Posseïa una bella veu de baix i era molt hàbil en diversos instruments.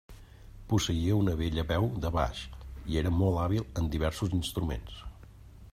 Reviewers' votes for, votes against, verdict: 2, 0, accepted